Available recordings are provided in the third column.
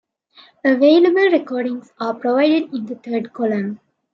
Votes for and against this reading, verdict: 2, 0, accepted